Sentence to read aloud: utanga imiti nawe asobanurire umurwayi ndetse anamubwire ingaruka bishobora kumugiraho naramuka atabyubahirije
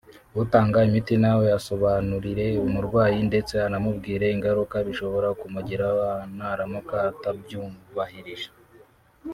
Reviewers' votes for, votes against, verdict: 1, 2, rejected